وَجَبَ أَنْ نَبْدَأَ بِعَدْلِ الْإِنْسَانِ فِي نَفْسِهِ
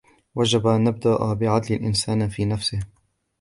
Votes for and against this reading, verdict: 2, 0, accepted